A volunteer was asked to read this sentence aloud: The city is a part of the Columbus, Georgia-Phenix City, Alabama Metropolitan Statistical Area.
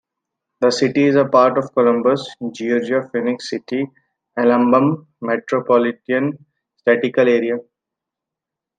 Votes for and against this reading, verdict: 1, 2, rejected